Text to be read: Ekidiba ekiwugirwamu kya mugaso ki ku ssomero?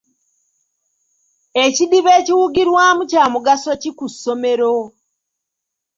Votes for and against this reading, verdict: 2, 0, accepted